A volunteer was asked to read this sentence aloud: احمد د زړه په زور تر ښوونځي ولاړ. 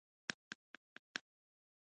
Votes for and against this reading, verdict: 2, 1, accepted